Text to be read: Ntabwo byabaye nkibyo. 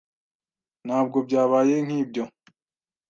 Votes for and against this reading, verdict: 2, 0, accepted